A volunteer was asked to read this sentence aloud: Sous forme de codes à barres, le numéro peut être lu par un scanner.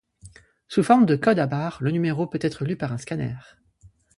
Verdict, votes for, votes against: rejected, 0, 2